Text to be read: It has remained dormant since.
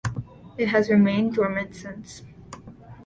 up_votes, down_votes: 2, 0